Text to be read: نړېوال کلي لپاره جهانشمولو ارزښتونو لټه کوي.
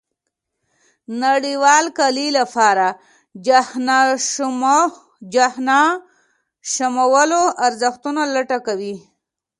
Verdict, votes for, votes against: rejected, 0, 2